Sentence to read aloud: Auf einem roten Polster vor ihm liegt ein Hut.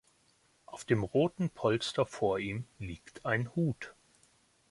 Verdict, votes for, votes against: rejected, 0, 2